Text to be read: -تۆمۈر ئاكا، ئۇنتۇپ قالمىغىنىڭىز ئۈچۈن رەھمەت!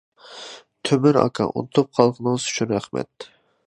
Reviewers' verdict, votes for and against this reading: rejected, 0, 2